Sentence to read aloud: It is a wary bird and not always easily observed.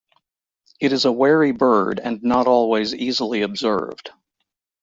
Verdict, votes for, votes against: accepted, 2, 0